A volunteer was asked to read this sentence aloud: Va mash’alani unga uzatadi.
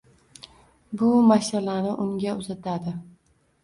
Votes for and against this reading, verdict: 1, 2, rejected